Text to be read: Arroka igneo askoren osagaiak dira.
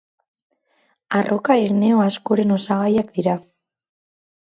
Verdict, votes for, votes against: rejected, 2, 2